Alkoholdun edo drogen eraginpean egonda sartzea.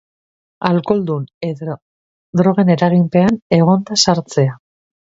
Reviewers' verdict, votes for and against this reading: rejected, 0, 2